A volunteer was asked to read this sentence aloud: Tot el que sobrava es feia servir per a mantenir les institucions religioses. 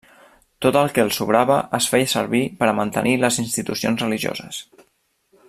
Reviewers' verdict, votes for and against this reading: rejected, 0, 2